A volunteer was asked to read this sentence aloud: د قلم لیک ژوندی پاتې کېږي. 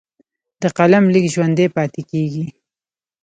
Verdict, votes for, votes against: rejected, 1, 2